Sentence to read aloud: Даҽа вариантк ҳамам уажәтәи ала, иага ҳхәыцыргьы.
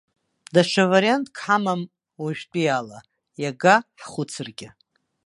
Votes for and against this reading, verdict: 2, 0, accepted